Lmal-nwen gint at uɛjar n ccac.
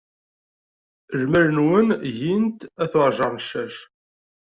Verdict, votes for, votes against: accepted, 2, 0